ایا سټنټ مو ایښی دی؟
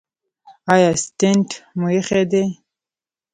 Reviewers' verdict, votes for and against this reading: accepted, 2, 1